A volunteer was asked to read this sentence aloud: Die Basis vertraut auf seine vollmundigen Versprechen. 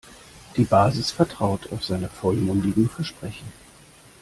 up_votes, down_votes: 2, 0